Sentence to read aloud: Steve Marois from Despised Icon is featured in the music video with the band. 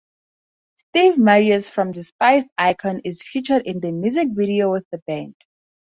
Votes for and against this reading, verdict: 0, 2, rejected